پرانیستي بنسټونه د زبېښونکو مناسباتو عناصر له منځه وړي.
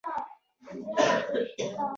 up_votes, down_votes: 2, 1